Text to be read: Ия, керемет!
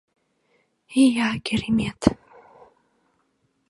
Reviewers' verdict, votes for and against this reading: accepted, 2, 0